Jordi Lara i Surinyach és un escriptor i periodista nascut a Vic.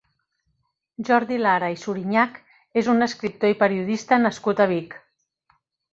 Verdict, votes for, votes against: accepted, 3, 0